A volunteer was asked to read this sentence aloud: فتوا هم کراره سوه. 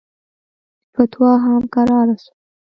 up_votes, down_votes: 2, 0